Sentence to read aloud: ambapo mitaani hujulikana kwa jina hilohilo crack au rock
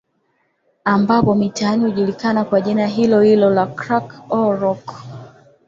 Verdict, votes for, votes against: accepted, 2, 0